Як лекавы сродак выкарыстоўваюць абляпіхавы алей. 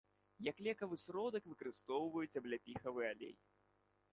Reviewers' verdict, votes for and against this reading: accepted, 2, 0